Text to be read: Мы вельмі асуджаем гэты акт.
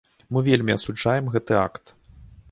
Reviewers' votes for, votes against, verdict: 2, 0, accepted